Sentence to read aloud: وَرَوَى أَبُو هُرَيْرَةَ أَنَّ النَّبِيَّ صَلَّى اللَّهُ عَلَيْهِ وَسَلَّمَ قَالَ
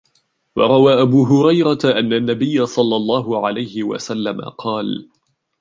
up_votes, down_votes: 1, 2